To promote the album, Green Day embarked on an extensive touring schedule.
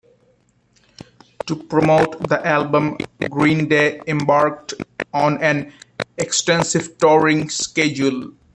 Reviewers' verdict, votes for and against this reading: rejected, 1, 2